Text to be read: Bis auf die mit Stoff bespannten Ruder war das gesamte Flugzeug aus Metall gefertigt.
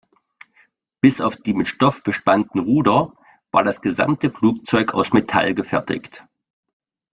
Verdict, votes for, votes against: accepted, 2, 0